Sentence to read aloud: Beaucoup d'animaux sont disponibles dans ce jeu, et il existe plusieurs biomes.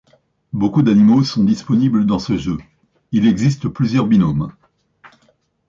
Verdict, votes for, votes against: rejected, 0, 2